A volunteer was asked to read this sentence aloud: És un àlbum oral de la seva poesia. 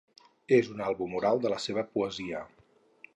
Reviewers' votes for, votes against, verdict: 2, 0, accepted